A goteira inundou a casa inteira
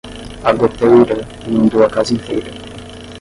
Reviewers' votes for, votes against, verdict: 0, 10, rejected